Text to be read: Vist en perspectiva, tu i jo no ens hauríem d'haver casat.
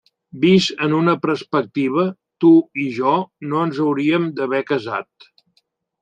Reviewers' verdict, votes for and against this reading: rejected, 0, 3